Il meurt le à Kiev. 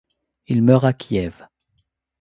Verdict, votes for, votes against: rejected, 1, 2